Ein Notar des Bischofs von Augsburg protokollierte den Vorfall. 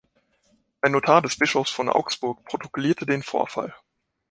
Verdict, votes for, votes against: accepted, 2, 0